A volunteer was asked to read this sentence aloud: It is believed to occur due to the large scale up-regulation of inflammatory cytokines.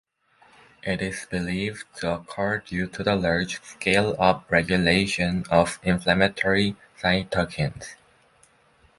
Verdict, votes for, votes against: rejected, 1, 2